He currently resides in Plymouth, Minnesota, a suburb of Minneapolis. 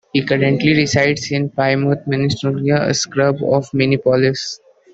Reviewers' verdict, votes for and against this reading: rejected, 0, 2